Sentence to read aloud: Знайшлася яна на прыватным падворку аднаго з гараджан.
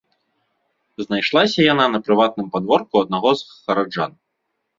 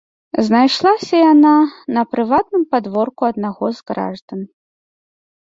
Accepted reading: first